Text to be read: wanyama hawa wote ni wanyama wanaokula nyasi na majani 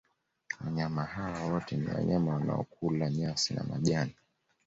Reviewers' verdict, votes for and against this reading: accepted, 2, 0